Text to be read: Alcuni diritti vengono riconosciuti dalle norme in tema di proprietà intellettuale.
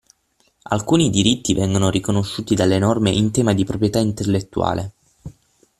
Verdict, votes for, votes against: accepted, 6, 0